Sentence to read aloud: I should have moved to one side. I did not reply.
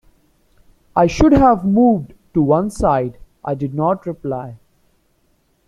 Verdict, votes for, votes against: accepted, 2, 0